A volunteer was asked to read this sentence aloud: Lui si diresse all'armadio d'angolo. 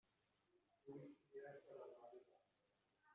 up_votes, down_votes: 0, 2